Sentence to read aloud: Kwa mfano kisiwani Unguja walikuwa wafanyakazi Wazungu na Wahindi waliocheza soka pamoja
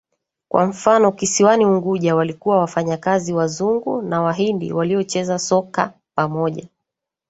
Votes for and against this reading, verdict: 3, 0, accepted